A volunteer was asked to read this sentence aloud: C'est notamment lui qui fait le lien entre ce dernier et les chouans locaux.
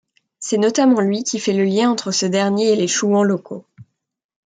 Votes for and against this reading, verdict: 2, 0, accepted